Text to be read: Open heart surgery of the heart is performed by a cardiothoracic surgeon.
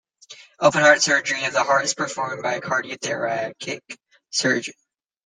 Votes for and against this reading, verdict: 1, 2, rejected